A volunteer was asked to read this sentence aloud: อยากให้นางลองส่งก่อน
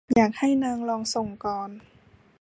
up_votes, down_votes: 2, 0